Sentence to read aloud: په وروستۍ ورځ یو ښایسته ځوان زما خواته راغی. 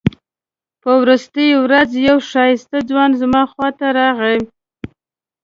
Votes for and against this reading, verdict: 2, 0, accepted